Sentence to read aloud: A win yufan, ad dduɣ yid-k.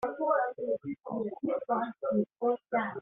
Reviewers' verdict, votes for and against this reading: rejected, 0, 2